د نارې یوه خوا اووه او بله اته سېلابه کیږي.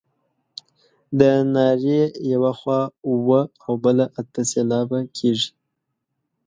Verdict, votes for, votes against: accepted, 2, 0